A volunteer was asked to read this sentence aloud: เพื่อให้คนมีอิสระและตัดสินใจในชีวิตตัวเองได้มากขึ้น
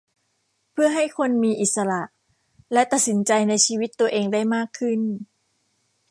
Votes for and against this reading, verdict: 2, 0, accepted